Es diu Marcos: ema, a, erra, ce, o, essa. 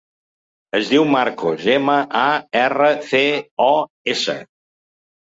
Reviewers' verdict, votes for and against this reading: rejected, 1, 2